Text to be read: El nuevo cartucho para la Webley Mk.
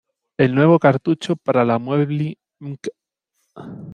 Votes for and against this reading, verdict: 0, 2, rejected